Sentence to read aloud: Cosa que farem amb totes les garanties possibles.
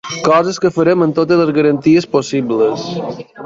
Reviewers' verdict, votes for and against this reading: rejected, 0, 2